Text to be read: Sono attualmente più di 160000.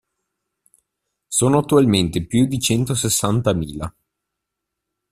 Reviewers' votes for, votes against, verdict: 0, 2, rejected